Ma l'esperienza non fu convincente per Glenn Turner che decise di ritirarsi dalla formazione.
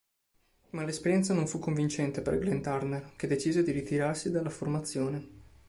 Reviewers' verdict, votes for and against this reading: accepted, 5, 0